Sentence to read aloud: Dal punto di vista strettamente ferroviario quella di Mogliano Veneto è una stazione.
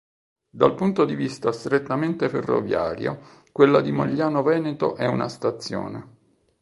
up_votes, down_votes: 2, 0